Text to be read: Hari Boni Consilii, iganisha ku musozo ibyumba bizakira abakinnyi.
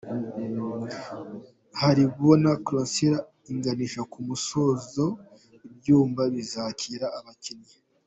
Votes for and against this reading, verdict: 1, 2, rejected